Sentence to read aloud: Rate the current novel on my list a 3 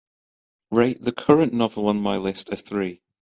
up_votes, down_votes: 0, 2